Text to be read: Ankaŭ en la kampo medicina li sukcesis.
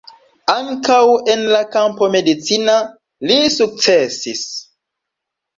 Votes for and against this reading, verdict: 3, 0, accepted